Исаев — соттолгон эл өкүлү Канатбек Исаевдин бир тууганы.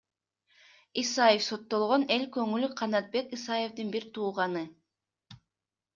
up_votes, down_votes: 0, 2